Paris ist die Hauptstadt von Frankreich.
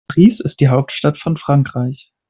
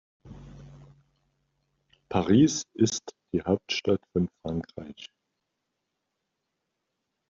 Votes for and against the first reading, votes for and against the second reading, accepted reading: 0, 2, 2, 0, second